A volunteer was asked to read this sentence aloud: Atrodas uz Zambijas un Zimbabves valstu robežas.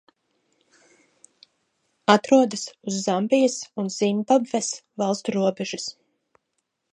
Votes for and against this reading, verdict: 0, 2, rejected